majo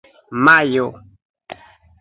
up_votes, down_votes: 1, 2